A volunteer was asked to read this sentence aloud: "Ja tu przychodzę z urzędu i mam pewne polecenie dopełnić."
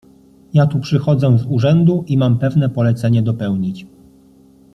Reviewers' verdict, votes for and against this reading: accepted, 2, 0